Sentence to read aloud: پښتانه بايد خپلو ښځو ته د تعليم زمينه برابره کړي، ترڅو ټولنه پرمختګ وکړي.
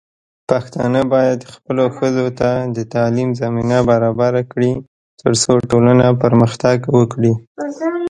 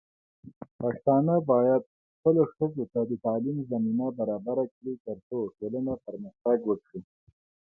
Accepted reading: first